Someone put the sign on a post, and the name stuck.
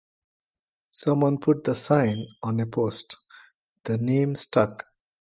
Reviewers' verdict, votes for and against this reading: rejected, 0, 2